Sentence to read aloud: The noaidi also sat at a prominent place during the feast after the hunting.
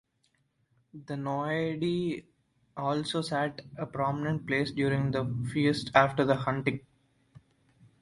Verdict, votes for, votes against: rejected, 1, 2